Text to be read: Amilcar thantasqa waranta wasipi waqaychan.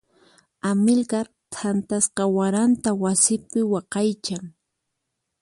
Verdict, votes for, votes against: accepted, 4, 0